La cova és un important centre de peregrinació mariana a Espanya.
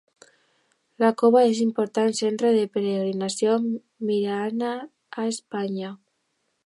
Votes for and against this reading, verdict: 1, 2, rejected